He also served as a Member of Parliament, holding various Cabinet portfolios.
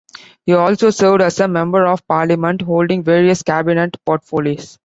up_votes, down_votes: 1, 3